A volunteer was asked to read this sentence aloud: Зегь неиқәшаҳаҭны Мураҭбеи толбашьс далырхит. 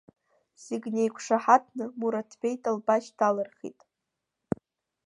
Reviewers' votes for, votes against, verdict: 1, 2, rejected